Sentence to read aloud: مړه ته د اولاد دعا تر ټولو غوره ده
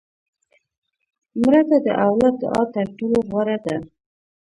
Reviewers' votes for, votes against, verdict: 2, 0, accepted